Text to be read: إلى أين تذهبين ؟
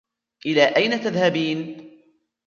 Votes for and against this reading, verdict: 1, 2, rejected